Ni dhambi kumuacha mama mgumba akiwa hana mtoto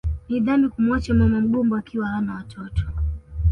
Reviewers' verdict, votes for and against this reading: accepted, 2, 1